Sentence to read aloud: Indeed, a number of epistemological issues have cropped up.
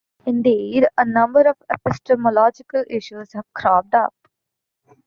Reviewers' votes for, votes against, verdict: 0, 2, rejected